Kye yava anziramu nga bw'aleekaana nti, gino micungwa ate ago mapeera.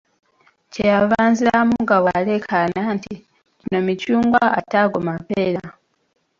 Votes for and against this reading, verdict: 1, 2, rejected